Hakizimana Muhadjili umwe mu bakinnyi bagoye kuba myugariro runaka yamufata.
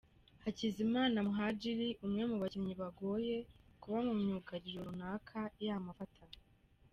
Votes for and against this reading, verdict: 2, 1, accepted